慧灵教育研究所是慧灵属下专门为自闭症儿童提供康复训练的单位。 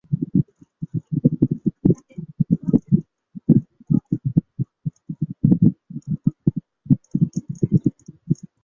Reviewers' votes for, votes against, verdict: 2, 6, rejected